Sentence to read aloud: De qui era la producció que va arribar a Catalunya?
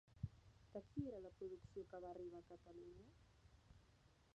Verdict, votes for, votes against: rejected, 1, 2